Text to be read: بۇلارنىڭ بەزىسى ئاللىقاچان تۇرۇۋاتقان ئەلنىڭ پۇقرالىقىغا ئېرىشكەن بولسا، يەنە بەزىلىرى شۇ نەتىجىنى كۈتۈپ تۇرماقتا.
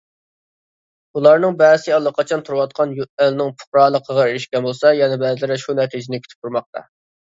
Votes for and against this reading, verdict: 0, 2, rejected